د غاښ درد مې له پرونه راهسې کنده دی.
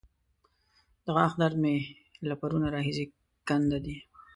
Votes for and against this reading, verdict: 0, 3, rejected